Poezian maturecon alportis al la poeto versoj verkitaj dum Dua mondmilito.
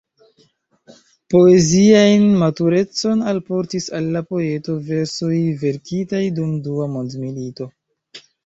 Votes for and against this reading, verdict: 0, 2, rejected